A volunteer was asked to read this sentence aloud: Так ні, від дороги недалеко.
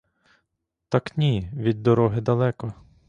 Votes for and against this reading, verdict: 0, 2, rejected